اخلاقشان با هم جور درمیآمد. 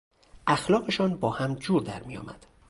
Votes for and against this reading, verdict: 2, 0, accepted